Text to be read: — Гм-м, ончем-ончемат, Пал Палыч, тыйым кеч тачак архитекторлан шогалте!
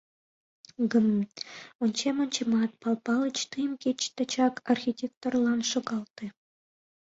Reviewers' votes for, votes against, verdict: 2, 0, accepted